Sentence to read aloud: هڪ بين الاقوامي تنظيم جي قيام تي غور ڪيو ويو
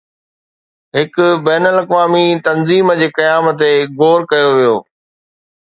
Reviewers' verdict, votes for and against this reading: accepted, 2, 0